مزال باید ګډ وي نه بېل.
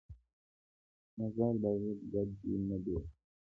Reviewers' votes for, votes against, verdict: 0, 2, rejected